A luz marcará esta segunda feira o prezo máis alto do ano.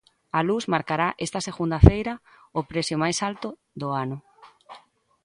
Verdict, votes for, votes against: rejected, 0, 2